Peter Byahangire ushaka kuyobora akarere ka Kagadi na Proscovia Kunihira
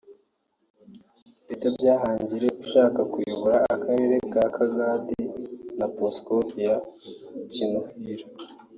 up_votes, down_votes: 1, 2